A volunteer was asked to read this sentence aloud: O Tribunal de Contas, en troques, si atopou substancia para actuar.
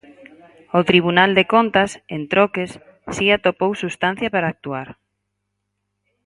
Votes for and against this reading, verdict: 4, 0, accepted